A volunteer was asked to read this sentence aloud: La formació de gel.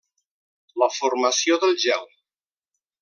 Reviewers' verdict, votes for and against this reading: rejected, 1, 2